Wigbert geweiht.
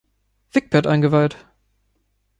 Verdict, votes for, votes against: rejected, 0, 2